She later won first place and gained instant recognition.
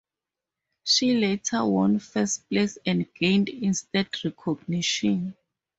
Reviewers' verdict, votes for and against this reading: accepted, 4, 0